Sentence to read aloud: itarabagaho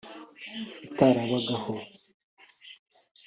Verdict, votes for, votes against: accepted, 2, 0